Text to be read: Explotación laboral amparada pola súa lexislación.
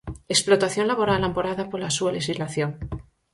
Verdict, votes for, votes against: accepted, 4, 0